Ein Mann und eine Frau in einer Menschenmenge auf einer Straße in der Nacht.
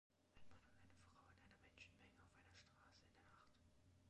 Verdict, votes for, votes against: rejected, 1, 2